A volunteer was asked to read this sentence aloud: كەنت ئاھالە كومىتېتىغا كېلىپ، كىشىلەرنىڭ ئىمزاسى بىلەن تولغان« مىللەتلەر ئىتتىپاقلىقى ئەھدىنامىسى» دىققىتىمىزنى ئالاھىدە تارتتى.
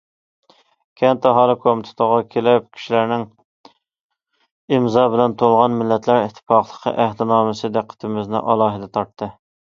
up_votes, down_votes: 0, 2